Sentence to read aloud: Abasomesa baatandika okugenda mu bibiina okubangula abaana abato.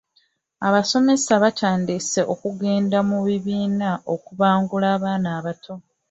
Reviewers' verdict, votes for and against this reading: rejected, 0, 2